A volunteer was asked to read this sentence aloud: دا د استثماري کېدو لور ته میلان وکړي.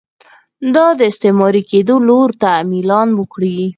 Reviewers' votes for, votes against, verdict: 4, 0, accepted